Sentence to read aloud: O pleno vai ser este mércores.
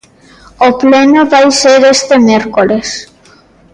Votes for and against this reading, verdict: 2, 0, accepted